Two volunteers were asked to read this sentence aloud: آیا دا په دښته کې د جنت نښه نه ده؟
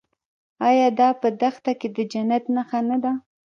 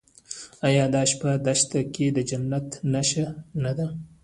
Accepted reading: first